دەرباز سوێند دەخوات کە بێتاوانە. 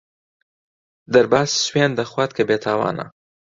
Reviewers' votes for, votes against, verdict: 2, 0, accepted